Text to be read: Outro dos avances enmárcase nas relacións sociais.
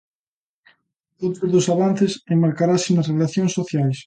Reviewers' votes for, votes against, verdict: 0, 2, rejected